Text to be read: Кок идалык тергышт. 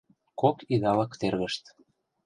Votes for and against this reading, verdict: 2, 0, accepted